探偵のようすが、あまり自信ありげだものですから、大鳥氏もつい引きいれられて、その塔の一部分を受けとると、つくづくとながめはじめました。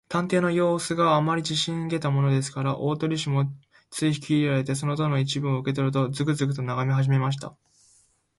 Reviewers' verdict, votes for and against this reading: accepted, 2, 1